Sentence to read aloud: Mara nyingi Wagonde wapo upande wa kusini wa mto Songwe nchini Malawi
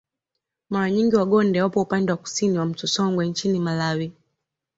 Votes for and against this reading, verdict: 2, 0, accepted